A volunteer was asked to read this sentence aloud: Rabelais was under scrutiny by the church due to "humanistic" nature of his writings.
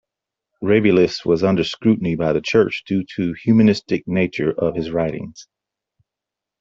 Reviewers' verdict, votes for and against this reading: accepted, 2, 1